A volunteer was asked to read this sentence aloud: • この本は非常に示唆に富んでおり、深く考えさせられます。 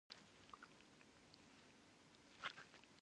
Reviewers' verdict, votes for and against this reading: rejected, 0, 2